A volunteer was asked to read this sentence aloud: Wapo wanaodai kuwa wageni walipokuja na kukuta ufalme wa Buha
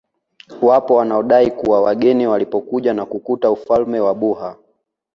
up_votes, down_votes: 2, 0